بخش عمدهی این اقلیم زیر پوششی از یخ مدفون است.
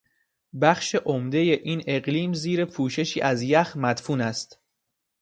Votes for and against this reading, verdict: 2, 0, accepted